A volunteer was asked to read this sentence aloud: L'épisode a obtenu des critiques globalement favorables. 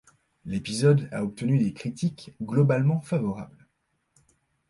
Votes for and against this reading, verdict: 2, 0, accepted